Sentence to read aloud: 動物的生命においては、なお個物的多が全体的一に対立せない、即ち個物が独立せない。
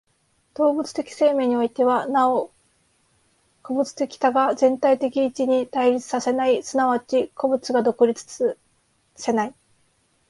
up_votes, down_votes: 1, 2